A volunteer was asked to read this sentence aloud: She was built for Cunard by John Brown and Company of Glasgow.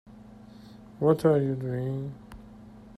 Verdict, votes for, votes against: rejected, 0, 2